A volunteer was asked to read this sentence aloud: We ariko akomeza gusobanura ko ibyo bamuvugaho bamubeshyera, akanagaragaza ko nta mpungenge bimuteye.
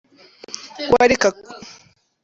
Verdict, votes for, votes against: rejected, 0, 3